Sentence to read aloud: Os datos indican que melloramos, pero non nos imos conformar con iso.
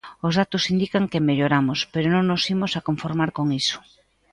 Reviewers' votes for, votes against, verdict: 0, 2, rejected